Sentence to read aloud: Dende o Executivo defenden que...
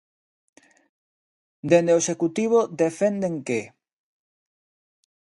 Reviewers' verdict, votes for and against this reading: accepted, 2, 0